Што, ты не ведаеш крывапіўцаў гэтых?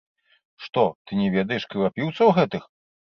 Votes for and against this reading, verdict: 1, 3, rejected